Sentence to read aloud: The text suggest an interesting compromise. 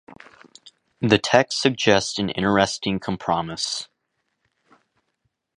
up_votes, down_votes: 1, 2